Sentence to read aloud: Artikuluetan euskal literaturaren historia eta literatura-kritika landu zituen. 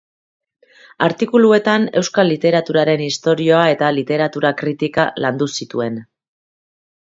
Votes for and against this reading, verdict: 0, 2, rejected